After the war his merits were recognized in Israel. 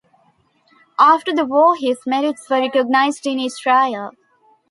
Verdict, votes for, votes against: accepted, 2, 0